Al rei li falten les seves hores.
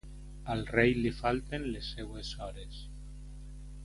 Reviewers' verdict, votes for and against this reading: rejected, 1, 2